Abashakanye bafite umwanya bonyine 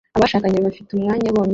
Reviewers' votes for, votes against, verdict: 1, 2, rejected